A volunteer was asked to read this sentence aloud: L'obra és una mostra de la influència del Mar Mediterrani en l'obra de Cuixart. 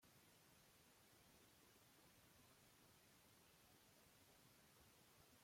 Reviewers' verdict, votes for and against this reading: rejected, 0, 2